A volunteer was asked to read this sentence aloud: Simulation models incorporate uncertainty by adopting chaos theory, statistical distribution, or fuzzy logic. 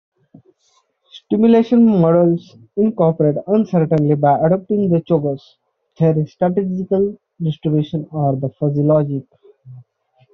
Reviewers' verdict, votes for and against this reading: rejected, 1, 2